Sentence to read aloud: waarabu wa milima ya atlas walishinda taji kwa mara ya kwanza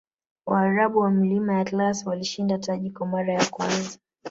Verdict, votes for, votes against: accepted, 8, 0